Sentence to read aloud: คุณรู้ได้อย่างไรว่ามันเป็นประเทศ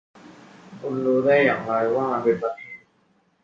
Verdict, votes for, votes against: rejected, 0, 2